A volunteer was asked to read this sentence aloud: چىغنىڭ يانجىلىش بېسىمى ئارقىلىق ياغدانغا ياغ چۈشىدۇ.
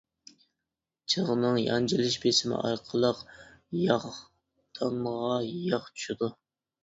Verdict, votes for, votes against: rejected, 1, 2